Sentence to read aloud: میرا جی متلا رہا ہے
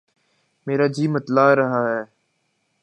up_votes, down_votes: 2, 0